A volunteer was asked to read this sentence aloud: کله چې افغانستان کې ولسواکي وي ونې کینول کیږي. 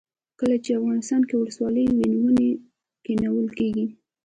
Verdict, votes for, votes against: rejected, 1, 3